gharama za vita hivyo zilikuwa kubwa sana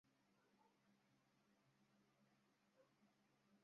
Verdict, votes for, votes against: rejected, 0, 2